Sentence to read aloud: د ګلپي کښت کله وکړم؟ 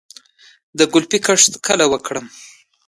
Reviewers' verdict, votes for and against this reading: accepted, 2, 0